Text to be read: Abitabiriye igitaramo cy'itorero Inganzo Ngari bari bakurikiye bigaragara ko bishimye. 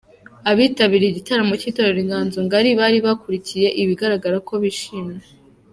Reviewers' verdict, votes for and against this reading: accepted, 2, 0